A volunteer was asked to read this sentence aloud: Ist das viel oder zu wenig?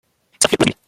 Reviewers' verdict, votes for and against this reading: rejected, 0, 2